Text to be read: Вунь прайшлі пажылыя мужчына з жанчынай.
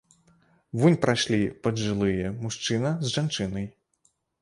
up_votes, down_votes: 1, 2